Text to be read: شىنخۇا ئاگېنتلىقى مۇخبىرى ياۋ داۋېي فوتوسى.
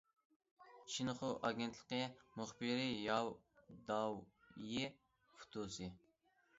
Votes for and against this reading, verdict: 1, 2, rejected